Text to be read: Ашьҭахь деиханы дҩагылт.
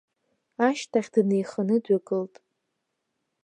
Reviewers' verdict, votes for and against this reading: rejected, 0, 2